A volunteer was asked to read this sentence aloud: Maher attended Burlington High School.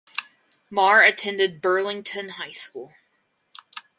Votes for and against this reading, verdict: 4, 0, accepted